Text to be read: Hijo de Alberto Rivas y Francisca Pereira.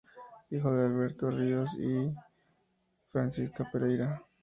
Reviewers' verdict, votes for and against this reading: accepted, 4, 2